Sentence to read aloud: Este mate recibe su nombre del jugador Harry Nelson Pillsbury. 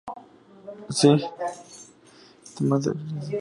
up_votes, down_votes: 0, 2